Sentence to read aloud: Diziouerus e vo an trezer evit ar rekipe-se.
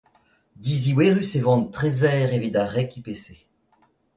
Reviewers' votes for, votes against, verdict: 2, 0, accepted